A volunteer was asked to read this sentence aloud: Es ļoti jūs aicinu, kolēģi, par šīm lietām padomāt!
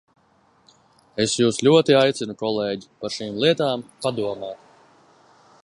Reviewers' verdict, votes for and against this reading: rejected, 0, 2